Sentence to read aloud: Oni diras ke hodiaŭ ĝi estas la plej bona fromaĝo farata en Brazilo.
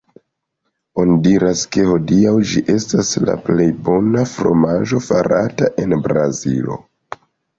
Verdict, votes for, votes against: rejected, 1, 2